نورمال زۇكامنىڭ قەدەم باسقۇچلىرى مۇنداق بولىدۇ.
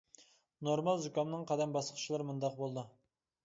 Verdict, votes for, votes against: accepted, 2, 0